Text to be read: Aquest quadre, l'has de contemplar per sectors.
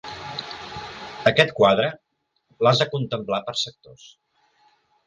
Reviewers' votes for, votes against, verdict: 3, 0, accepted